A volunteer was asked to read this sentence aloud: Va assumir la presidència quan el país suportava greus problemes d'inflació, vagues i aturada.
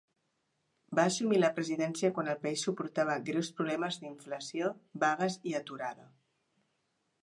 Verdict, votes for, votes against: accepted, 2, 0